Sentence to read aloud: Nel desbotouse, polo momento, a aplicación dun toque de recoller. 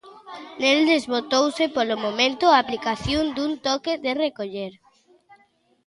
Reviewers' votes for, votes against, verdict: 2, 0, accepted